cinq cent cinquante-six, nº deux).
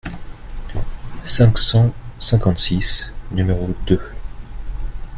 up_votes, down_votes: 2, 0